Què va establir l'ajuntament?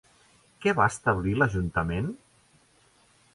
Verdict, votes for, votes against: accepted, 2, 0